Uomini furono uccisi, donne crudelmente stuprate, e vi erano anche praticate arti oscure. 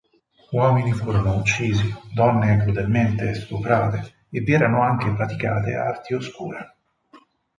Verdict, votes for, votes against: accepted, 4, 0